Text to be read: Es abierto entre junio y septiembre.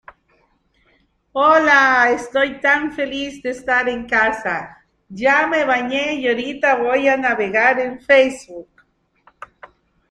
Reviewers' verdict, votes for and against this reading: rejected, 0, 2